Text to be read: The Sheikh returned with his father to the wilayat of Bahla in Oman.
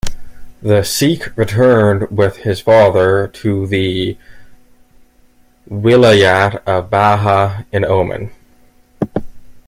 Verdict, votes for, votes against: rejected, 0, 2